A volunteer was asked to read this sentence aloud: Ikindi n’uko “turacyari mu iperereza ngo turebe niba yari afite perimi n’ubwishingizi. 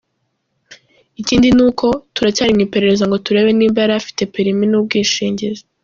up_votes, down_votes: 2, 0